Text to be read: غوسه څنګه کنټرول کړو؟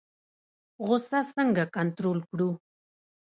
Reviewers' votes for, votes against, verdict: 2, 0, accepted